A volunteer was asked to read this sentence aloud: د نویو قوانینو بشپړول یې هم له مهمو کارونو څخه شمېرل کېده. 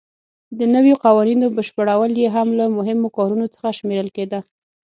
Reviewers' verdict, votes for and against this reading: accepted, 6, 0